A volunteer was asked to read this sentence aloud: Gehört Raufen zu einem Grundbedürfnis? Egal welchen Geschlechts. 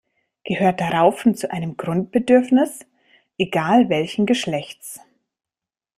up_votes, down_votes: 2, 0